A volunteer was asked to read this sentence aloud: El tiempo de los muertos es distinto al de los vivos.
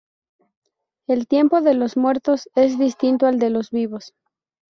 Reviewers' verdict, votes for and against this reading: rejected, 0, 2